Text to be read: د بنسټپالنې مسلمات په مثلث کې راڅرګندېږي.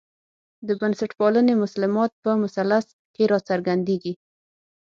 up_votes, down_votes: 6, 0